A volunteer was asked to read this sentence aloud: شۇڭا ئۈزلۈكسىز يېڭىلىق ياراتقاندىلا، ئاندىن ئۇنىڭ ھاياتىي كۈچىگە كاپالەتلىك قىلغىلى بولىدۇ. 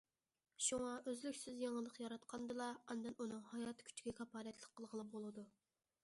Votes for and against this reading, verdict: 2, 0, accepted